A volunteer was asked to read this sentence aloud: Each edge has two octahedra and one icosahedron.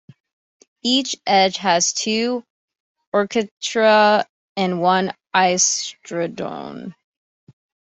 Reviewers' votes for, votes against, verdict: 0, 2, rejected